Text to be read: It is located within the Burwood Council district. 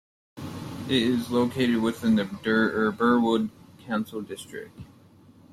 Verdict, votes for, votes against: rejected, 0, 2